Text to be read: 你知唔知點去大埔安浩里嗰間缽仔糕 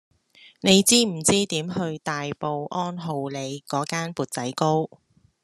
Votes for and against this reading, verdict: 2, 0, accepted